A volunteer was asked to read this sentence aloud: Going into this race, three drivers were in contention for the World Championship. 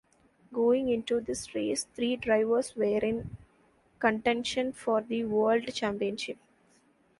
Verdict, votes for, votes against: rejected, 1, 2